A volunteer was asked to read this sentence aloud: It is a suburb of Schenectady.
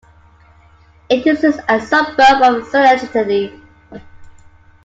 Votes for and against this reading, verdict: 0, 2, rejected